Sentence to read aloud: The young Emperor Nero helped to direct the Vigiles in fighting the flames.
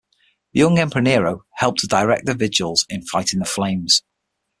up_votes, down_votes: 6, 3